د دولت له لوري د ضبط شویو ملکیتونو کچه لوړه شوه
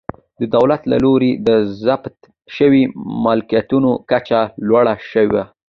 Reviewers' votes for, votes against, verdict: 2, 1, accepted